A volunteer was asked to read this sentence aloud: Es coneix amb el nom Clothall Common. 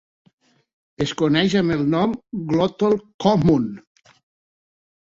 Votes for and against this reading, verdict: 3, 6, rejected